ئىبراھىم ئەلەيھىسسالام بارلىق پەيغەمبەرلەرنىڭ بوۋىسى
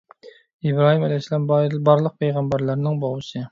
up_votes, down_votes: 0, 2